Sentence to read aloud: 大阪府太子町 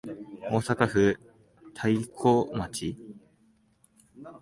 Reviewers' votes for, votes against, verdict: 6, 4, accepted